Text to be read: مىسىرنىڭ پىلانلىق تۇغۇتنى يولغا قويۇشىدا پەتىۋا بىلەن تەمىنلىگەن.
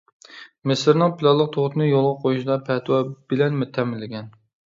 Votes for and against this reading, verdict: 1, 2, rejected